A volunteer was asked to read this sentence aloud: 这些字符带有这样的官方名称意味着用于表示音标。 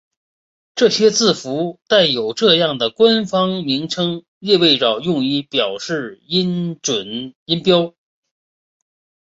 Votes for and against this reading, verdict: 1, 2, rejected